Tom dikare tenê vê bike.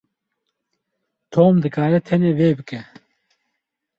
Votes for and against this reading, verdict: 4, 0, accepted